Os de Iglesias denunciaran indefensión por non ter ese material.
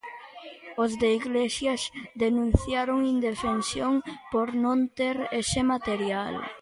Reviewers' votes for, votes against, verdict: 0, 2, rejected